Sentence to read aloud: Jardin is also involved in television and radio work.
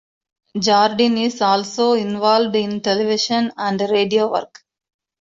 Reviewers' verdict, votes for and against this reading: accepted, 2, 0